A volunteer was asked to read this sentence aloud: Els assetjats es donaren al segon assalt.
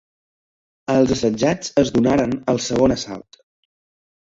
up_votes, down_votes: 2, 0